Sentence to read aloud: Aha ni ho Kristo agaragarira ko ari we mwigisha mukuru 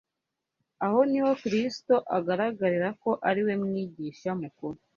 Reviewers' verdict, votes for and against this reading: rejected, 1, 2